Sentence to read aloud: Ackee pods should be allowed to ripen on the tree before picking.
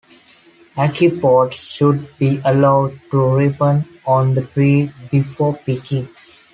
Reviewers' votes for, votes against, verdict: 2, 1, accepted